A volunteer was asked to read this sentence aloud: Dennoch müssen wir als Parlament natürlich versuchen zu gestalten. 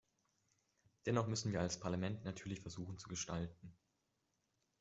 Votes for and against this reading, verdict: 2, 0, accepted